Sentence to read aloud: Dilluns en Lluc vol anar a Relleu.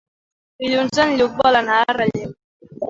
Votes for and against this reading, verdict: 2, 1, accepted